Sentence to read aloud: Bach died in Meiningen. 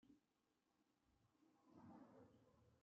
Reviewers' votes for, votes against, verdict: 0, 2, rejected